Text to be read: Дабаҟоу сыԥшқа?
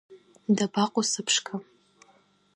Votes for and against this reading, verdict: 2, 1, accepted